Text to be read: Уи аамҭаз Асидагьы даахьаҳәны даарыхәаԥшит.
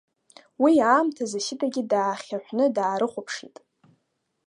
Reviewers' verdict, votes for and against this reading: accepted, 2, 1